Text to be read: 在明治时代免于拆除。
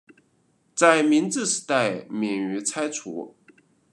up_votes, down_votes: 2, 0